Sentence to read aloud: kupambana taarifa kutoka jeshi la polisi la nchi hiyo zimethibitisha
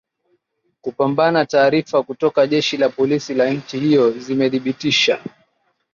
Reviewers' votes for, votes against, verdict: 2, 0, accepted